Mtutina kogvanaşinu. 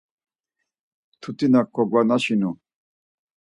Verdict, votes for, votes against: accepted, 4, 0